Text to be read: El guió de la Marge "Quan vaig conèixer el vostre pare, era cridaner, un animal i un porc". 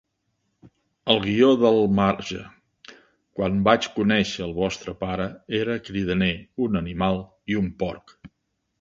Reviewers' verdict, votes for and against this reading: rejected, 0, 2